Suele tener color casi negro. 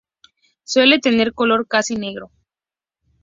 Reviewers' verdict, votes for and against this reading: accepted, 2, 0